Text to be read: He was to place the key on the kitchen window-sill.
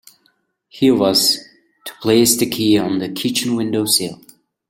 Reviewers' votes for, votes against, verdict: 2, 0, accepted